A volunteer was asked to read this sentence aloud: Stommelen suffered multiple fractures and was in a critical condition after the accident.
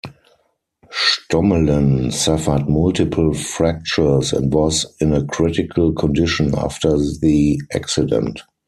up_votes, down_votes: 0, 4